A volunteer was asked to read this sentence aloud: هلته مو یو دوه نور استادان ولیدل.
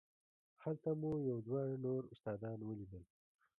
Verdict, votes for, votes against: rejected, 0, 2